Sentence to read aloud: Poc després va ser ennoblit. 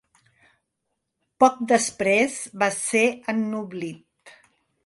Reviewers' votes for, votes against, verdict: 2, 0, accepted